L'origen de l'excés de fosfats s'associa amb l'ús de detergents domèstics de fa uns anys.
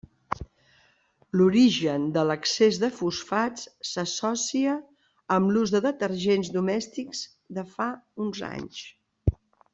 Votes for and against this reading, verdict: 1, 2, rejected